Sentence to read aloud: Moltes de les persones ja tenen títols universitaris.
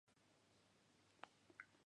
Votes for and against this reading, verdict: 0, 2, rejected